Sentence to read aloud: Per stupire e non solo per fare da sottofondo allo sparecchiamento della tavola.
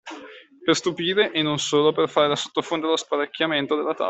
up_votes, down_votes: 1, 2